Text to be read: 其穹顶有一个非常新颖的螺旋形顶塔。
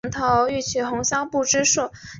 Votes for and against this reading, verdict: 0, 2, rejected